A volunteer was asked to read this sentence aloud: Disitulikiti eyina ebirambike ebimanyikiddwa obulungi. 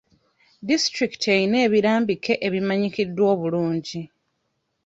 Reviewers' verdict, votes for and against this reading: accepted, 2, 0